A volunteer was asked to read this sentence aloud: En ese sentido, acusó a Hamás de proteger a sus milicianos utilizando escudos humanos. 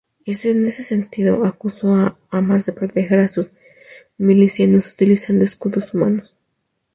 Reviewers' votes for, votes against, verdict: 0, 2, rejected